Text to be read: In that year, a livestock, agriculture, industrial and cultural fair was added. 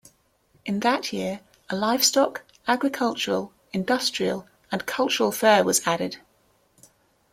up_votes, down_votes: 0, 2